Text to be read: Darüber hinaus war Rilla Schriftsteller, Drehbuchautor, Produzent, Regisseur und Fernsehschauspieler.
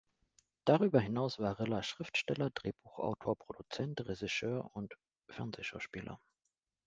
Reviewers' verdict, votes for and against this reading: accepted, 2, 0